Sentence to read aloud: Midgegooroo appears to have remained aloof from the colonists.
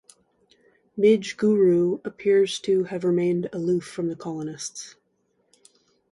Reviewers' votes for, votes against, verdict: 2, 0, accepted